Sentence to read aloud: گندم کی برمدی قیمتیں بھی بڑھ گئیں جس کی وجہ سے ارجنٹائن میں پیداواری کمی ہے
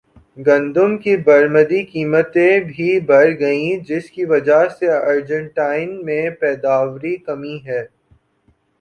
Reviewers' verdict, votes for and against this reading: rejected, 0, 2